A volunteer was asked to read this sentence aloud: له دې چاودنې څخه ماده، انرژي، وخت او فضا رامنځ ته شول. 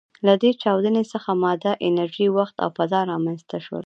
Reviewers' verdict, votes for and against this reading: accepted, 2, 0